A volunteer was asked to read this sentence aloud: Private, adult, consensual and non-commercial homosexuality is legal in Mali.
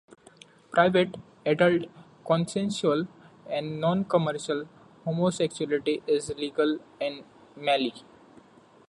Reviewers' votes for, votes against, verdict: 2, 1, accepted